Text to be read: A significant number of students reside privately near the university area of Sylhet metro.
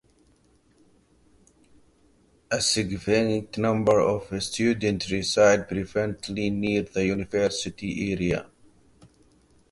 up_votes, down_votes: 0, 2